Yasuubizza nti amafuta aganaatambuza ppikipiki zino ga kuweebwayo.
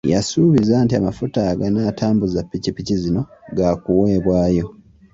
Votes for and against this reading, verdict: 2, 1, accepted